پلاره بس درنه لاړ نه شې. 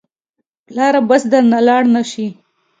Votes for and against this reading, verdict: 2, 0, accepted